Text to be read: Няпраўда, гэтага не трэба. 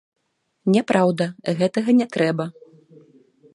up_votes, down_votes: 1, 2